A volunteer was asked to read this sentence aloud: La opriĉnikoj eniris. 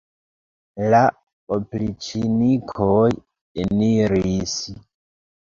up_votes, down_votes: 1, 2